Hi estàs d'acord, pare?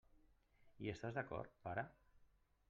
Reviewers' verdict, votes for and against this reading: rejected, 1, 2